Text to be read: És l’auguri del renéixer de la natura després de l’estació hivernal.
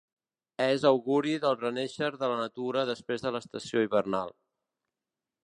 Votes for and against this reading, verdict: 0, 2, rejected